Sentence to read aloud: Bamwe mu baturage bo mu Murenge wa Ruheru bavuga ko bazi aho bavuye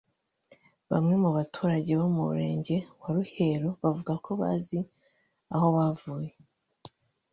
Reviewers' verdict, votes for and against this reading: rejected, 1, 2